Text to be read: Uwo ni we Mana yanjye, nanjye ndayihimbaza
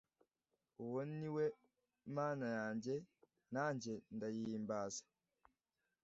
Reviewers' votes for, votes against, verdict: 2, 0, accepted